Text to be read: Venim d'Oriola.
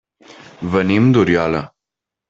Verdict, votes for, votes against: accepted, 3, 0